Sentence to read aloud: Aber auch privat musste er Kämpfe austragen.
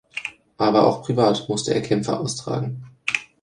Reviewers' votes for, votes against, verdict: 2, 0, accepted